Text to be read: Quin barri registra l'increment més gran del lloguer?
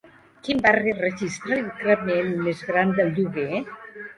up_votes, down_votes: 2, 0